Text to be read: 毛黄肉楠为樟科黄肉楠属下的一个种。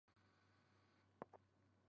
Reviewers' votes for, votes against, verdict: 0, 2, rejected